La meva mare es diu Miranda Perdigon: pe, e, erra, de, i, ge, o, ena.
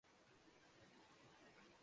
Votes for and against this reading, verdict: 0, 2, rejected